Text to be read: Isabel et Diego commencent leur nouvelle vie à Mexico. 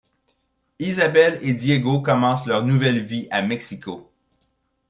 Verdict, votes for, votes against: accepted, 2, 0